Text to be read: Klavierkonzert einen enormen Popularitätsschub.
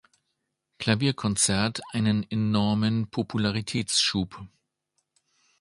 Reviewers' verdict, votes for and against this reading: accepted, 2, 0